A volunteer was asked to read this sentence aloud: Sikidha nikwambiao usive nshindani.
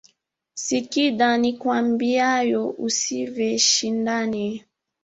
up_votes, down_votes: 1, 2